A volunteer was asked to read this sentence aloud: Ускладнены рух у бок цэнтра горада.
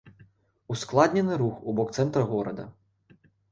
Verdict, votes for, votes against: accepted, 2, 0